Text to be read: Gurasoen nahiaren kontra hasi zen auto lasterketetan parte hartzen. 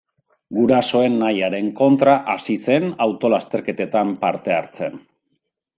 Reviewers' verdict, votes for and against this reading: rejected, 1, 2